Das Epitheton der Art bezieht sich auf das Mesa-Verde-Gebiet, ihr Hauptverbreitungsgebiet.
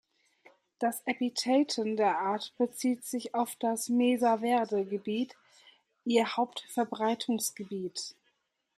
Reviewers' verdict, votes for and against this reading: accepted, 2, 0